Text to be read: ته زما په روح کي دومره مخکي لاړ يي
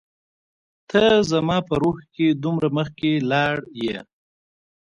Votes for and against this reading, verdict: 2, 0, accepted